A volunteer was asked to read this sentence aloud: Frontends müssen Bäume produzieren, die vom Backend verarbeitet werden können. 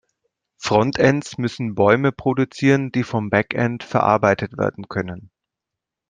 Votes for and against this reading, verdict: 3, 0, accepted